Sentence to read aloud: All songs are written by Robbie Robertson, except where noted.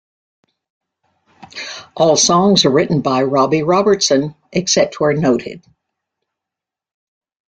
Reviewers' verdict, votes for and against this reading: accepted, 2, 0